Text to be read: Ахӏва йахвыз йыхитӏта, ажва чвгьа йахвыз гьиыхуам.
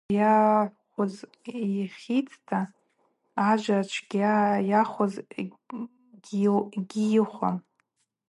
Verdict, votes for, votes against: rejected, 0, 4